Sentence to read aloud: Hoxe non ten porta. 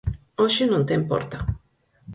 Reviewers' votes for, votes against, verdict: 4, 0, accepted